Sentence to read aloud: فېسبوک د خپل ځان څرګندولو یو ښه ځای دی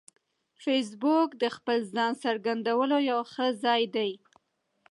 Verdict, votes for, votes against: accepted, 2, 0